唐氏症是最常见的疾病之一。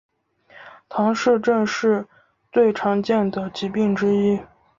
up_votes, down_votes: 2, 1